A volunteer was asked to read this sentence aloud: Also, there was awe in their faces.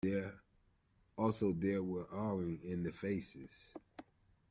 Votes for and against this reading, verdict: 0, 2, rejected